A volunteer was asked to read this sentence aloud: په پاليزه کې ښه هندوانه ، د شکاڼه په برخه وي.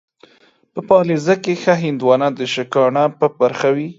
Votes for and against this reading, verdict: 2, 1, accepted